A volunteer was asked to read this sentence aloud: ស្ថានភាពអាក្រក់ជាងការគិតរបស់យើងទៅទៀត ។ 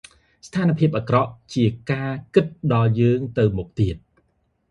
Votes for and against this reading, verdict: 0, 2, rejected